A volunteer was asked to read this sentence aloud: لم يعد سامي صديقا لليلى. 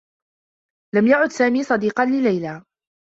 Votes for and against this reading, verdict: 2, 0, accepted